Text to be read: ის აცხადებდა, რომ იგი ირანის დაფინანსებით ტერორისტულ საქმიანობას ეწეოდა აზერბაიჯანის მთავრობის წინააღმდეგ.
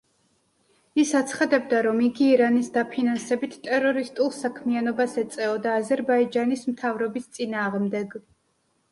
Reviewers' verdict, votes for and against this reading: accepted, 2, 0